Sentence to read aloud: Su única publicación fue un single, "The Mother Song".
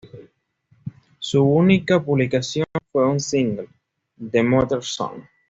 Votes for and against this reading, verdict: 2, 0, accepted